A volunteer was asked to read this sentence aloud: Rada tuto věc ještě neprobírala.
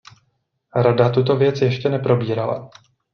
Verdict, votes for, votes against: accepted, 2, 0